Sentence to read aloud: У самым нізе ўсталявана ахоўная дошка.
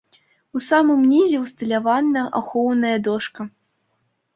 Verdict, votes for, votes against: accepted, 2, 0